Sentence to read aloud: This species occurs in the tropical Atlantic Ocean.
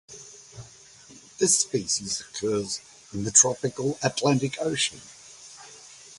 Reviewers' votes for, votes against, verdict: 2, 0, accepted